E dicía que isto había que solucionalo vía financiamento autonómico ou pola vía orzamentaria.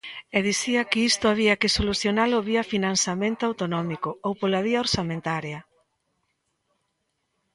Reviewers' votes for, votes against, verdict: 2, 0, accepted